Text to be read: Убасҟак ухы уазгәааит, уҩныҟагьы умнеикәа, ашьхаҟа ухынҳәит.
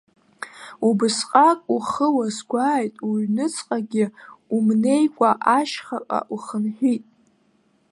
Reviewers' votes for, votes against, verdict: 1, 2, rejected